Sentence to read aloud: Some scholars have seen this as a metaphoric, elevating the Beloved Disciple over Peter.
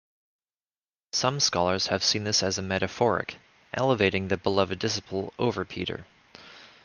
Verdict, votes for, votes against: rejected, 1, 2